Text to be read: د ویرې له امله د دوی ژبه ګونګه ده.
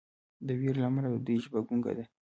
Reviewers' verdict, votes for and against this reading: rejected, 1, 2